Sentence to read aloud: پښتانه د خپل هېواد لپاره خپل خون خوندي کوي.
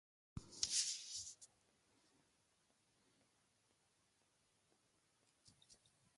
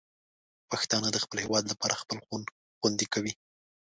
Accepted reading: second